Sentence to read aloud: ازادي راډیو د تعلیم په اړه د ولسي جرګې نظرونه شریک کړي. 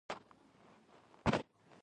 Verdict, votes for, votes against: rejected, 1, 2